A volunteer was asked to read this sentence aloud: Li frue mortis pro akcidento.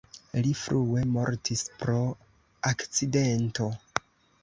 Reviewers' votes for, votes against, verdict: 2, 0, accepted